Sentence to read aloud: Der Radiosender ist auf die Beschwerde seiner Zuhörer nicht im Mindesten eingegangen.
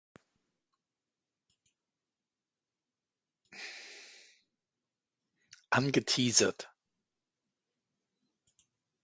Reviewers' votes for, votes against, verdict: 0, 2, rejected